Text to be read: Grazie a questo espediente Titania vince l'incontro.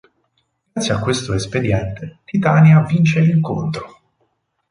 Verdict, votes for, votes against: rejected, 0, 4